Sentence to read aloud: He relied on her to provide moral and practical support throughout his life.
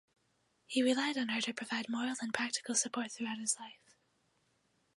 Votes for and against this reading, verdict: 4, 0, accepted